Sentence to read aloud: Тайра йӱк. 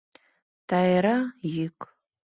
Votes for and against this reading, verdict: 2, 0, accepted